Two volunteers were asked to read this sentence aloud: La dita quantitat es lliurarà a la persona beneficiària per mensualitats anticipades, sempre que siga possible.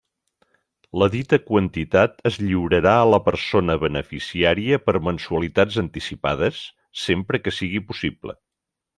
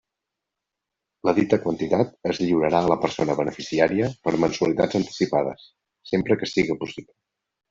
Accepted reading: second